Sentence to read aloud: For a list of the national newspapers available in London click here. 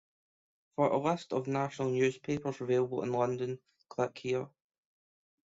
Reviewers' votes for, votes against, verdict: 1, 2, rejected